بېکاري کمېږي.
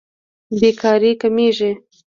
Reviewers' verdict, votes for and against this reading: rejected, 0, 2